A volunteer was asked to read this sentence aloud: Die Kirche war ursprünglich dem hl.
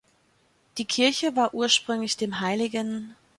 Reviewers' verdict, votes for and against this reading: rejected, 1, 2